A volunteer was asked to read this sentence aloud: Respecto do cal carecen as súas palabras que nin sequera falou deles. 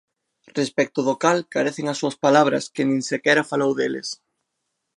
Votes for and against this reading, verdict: 2, 0, accepted